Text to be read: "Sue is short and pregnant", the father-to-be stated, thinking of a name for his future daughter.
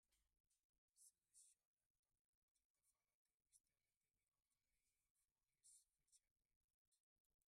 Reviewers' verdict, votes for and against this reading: rejected, 0, 2